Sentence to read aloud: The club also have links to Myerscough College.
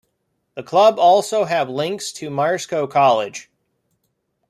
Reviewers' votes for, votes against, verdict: 2, 0, accepted